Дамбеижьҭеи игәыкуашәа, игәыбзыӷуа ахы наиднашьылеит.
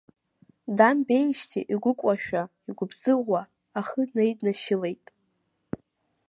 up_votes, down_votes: 0, 2